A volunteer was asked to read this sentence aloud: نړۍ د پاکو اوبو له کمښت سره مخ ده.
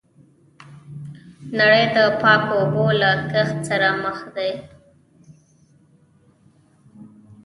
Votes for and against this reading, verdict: 0, 2, rejected